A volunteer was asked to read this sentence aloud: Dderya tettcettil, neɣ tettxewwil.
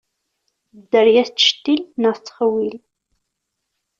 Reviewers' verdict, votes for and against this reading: accepted, 2, 0